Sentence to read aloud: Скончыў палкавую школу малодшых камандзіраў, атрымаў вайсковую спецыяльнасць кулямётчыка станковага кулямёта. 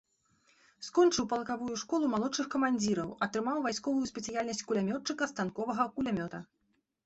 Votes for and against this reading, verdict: 2, 0, accepted